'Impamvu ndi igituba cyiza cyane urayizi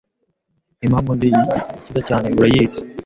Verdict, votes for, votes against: rejected, 0, 2